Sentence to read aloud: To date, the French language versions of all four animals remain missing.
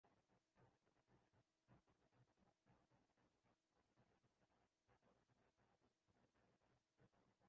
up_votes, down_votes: 0, 2